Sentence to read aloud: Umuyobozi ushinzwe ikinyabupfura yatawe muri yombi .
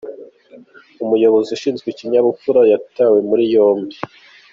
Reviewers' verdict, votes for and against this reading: accepted, 2, 0